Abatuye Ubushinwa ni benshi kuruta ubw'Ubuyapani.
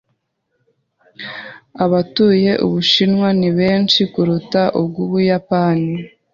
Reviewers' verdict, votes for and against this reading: accepted, 2, 0